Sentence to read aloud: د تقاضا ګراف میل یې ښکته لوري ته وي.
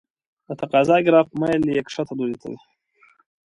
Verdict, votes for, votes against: accepted, 3, 0